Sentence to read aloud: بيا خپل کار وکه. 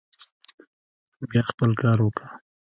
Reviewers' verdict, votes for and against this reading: rejected, 1, 2